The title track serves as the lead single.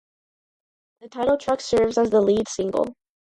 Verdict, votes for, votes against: rejected, 0, 2